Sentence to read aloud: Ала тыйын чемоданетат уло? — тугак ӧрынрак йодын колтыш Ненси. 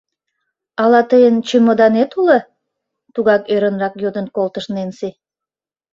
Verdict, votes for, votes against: rejected, 1, 2